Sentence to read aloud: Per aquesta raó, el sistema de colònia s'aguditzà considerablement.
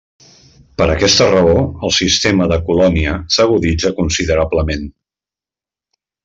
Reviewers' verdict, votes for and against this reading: rejected, 0, 2